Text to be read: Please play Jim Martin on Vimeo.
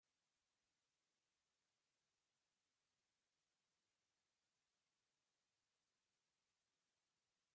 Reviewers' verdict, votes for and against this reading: rejected, 0, 2